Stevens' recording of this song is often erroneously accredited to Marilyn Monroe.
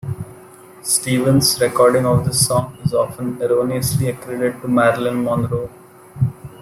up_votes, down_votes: 1, 2